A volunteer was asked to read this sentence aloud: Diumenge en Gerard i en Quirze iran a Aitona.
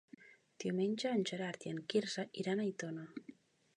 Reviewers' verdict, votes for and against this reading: accepted, 2, 0